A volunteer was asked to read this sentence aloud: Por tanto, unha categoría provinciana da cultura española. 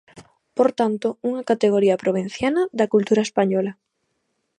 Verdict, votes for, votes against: accepted, 2, 0